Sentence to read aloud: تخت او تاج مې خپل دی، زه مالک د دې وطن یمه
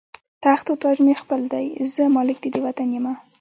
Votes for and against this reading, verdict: 1, 2, rejected